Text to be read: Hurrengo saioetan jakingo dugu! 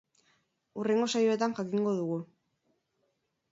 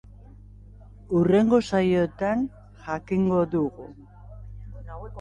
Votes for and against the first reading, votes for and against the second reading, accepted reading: 4, 0, 0, 2, first